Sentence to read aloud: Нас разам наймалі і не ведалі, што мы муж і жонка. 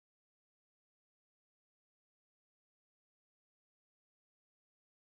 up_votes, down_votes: 0, 2